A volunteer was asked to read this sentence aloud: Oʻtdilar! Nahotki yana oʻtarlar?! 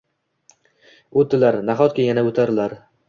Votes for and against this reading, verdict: 2, 0, accepted